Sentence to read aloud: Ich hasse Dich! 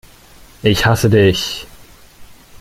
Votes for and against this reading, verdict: 2, 0, accepted